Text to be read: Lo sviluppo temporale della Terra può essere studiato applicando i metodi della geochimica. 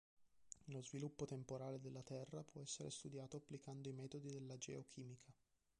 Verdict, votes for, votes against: rejected, 0, 2